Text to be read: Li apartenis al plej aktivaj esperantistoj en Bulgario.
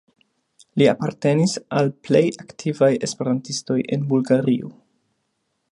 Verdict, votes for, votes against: accepted, 2, 0